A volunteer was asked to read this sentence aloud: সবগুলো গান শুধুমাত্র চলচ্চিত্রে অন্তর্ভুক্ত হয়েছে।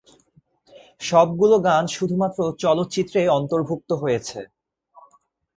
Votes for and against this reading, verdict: 3, 0, accepted